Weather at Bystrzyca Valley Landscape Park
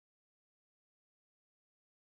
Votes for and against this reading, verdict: 0, 2, rejected